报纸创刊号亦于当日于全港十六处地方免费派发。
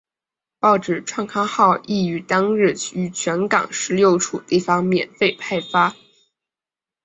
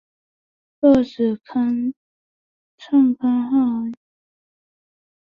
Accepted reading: first